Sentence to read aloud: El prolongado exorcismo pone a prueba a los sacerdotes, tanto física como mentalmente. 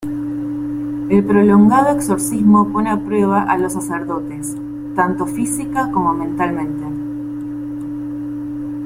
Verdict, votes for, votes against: rejected, 1, 3